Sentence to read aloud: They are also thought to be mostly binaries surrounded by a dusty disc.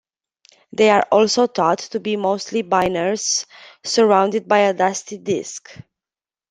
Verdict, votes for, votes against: rejected, 1, 2